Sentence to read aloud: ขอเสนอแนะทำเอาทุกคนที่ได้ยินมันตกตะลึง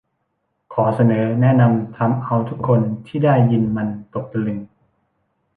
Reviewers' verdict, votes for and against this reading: rejected, 0, 2